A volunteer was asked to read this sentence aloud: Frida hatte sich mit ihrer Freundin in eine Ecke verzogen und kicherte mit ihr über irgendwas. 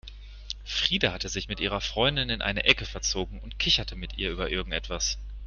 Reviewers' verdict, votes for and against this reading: rejected, 1, 2